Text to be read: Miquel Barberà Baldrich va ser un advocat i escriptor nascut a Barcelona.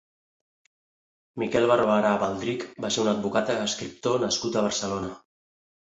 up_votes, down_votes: 2, 3